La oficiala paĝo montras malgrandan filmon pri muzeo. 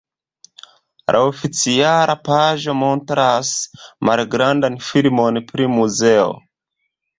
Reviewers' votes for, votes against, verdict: 2, 0, accepted